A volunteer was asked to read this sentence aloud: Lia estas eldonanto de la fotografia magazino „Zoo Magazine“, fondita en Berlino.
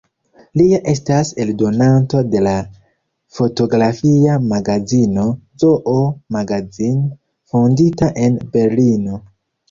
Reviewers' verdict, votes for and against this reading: rejected, 0, 2